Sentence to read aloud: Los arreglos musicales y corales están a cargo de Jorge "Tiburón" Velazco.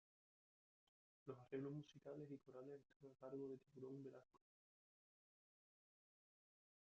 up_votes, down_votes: 0, 2